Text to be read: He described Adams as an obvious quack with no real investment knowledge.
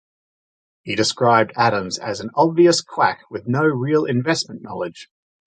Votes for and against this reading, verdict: 2, 0, accepted